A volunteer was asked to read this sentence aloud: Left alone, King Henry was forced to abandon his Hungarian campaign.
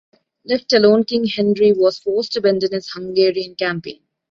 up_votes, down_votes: 2, 0